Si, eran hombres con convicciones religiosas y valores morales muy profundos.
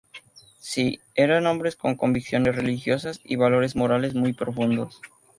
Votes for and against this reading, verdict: 2, 0, accepted